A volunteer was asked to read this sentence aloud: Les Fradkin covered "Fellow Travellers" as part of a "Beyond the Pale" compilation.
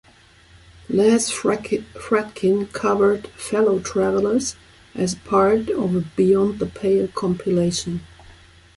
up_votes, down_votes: 0, 2